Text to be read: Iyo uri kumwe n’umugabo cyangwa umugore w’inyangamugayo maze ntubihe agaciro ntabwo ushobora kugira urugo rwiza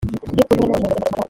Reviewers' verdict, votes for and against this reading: rejected, 0, 3